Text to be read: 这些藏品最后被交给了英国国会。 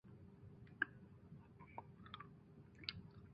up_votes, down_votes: 0, 2